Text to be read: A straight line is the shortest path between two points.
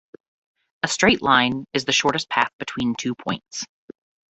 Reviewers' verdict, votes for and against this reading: rejected, 0, 2